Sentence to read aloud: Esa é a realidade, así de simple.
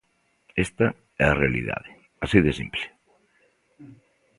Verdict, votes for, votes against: rejected, 0, 2